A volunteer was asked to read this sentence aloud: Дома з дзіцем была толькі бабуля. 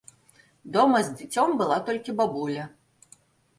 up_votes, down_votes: 2, 0